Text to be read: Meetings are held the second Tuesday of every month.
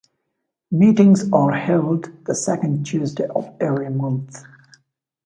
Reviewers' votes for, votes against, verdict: 2, 0, accepted